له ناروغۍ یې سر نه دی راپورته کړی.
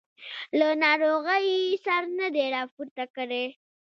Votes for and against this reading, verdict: 2, 0, accepted